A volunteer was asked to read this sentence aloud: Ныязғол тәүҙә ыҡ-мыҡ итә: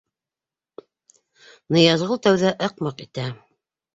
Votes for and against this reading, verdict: 2, 0, accepted